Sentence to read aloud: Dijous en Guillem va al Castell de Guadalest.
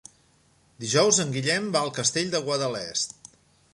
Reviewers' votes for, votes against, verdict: 3, 0, accepted